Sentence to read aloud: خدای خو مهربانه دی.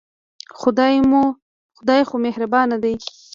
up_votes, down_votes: 1, 2